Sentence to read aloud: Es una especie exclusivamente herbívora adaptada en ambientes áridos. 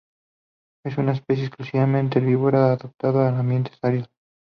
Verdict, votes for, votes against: accepted, 2, 0